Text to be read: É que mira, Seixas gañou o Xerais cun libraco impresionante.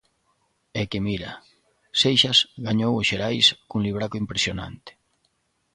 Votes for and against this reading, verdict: 2, 0, accepted